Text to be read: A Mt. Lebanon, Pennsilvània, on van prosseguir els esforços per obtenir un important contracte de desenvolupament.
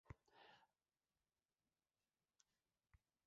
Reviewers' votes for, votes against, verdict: 1, 2, rejected